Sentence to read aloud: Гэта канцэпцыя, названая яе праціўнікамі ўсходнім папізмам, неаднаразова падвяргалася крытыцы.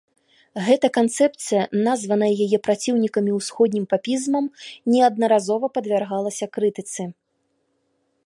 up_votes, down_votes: 2, 0